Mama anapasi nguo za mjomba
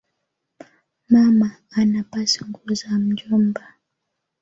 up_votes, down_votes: 0, 2